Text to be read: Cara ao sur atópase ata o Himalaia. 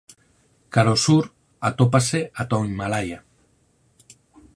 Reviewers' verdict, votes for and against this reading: accepted, 4, 2